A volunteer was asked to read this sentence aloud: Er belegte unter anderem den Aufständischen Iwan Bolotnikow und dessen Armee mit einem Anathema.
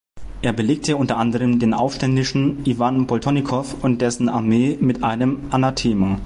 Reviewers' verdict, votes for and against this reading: rejected, 1, 2